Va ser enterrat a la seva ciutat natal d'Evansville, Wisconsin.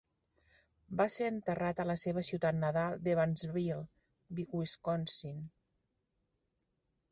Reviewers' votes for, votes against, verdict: 1, 2, rejected